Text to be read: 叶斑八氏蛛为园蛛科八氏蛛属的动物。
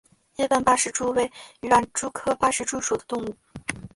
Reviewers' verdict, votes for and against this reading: accepted, 2, 0